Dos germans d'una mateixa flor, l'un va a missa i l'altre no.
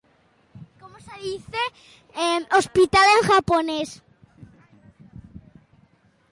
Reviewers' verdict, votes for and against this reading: rejected, 0, 2